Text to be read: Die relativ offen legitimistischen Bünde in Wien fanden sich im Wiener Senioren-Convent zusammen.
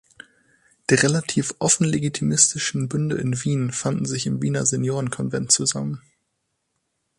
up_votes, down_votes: 6, 0